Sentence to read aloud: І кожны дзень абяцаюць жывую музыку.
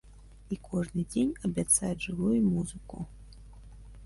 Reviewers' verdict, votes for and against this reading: accepted, 2, 0